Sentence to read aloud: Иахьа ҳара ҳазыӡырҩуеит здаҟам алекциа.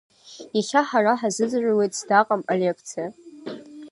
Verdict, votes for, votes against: rejected, 1, 2